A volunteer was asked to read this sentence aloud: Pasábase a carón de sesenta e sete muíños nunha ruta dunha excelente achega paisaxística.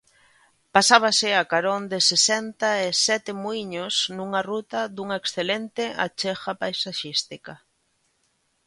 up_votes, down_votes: 2, 0